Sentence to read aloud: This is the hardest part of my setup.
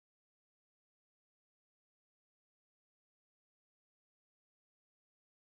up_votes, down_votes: 0, 2